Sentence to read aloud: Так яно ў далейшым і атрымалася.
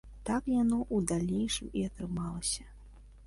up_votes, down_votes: 2, 0